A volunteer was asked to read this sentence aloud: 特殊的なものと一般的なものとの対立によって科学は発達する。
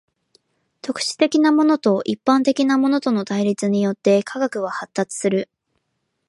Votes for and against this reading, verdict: 3, 0, accepted